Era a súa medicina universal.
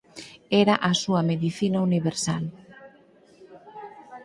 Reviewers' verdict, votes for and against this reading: rejected, 2, 4